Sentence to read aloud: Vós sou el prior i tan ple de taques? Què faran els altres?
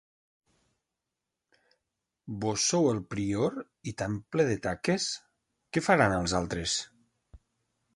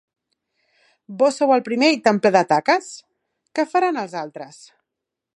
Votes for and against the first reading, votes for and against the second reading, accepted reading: 2, 0, 1, 3, first